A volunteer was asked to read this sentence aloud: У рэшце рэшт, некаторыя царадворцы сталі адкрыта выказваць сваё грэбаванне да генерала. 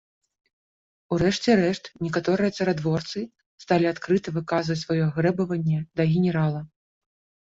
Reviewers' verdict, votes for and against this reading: accepted, 2, 0